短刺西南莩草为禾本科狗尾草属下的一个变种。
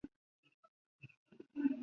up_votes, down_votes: 1, 2